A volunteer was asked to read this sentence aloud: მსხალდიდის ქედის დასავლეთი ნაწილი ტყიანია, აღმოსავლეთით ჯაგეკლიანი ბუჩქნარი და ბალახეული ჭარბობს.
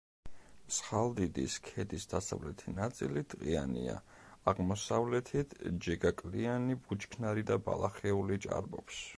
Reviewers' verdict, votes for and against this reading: rejected, 1, 2